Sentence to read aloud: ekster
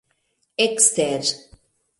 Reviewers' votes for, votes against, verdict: 2, 0, accepted